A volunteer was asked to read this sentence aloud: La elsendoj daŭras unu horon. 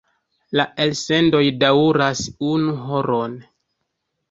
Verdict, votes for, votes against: rejected, 0, 2